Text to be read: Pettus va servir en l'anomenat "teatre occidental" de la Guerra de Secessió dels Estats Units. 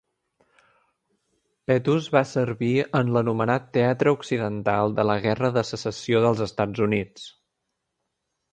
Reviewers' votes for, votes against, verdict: 2, 0, accepted